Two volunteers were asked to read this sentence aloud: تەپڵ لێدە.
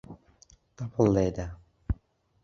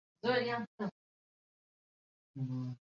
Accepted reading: first